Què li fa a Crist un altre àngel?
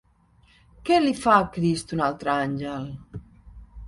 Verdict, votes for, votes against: accepted, 2, 0